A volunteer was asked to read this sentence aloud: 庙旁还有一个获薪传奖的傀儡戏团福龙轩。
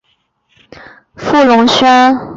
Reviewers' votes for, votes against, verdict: 0, 2, rejected